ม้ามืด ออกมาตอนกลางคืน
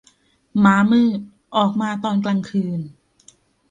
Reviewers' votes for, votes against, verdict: 2, 0, accepted